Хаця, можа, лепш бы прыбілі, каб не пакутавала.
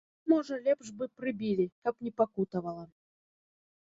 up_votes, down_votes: 0, 2